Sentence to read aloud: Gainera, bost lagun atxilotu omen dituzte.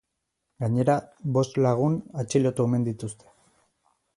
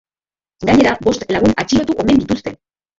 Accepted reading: first